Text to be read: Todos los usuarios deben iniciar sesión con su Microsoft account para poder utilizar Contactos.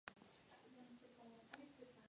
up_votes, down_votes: 0, 2